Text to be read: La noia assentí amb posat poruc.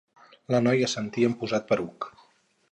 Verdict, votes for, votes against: accepted, 4, 0